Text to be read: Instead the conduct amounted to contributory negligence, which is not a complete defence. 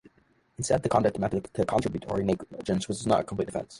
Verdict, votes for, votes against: rejected, 0, 2